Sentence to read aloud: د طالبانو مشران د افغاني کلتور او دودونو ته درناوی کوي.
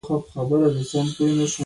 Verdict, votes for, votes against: rejected, 0, 2